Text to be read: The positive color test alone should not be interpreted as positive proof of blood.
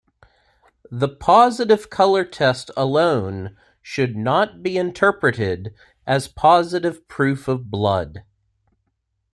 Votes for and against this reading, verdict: 2, 0, accepted